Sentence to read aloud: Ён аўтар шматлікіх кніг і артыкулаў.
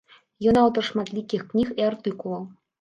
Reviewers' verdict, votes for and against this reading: accepted, 2, 0